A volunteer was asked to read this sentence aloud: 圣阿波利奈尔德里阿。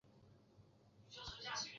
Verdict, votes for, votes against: rejected, 0, 2